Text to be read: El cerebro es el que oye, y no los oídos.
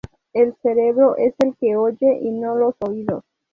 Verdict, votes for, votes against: accepted, 4, 0